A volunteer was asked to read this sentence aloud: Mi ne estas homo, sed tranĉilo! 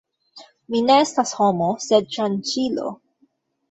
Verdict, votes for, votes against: rejected, 0, 2